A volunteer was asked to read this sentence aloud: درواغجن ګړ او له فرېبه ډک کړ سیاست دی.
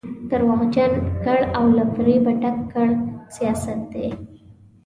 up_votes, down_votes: 2, 1